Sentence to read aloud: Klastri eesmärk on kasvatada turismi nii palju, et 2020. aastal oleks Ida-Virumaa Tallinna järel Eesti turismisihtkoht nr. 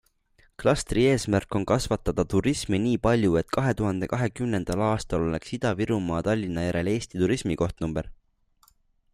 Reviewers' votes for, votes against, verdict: 0, 2, rejected